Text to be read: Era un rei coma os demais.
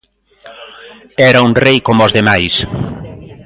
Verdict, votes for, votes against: accepted, 2, 0